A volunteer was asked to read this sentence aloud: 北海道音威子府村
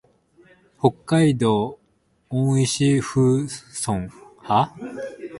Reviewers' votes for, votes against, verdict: 2, 3, rejected